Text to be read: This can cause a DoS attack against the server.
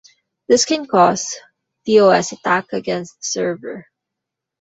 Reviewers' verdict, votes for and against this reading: rejected, 0, 3